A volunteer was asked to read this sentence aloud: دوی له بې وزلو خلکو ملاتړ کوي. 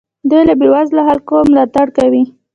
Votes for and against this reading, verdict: 1, 2, rejected